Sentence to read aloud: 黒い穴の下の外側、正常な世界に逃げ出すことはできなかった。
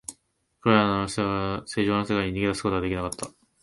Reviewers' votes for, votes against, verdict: 0, 2, rejected